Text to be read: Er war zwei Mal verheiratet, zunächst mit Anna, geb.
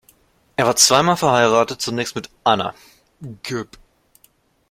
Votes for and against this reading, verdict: 0, 2, rejected